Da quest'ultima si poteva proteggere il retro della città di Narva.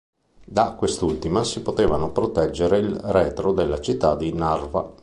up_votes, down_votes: 1, 2